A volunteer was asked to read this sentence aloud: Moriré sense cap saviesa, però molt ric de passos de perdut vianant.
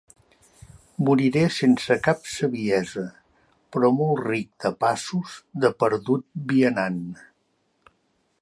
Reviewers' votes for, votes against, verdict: 2, 0, accepted